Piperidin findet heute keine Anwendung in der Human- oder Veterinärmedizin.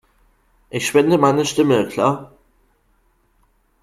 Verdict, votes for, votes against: rejected, 0, 2